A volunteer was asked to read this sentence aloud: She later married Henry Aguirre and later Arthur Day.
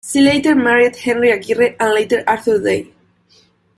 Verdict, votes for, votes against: rejected, 1, 2